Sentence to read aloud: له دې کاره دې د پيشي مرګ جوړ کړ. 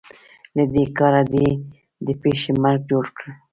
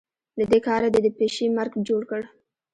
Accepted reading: first